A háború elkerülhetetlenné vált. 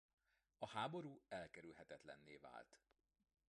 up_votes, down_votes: 0, 2